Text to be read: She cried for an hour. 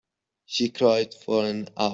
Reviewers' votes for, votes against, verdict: 1, 2, rejected